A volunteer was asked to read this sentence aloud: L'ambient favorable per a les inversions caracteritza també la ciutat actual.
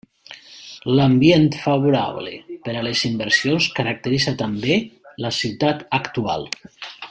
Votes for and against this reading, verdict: 3, 0, accepted